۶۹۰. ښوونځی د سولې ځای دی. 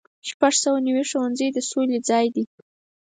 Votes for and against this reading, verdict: 0, 2, rejected